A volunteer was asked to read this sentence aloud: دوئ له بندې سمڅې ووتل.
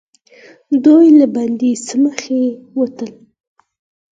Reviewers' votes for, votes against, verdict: 4, 0, accepted